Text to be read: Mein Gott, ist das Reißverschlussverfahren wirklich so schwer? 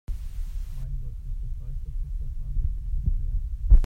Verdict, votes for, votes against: rejected, 0, 2